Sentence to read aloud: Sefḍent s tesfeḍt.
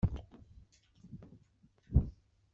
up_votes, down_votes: 1, 2